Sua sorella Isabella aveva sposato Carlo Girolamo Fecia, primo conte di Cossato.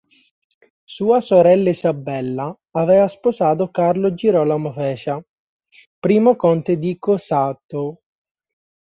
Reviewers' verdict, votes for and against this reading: rejected, 2, 3